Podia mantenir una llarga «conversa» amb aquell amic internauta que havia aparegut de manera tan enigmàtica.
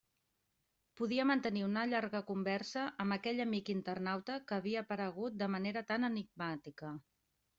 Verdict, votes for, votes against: accepted, 2, 0